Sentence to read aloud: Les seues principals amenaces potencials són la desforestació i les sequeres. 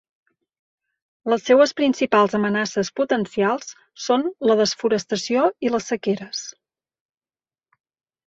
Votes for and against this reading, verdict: 2, 0, accepted